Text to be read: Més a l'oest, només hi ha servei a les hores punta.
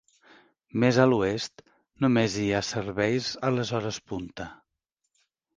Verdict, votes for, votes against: rejected, 0, 2